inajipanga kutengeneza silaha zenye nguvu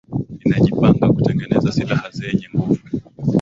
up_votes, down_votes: 13, 6